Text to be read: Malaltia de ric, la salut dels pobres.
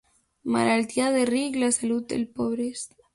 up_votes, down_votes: 2, 1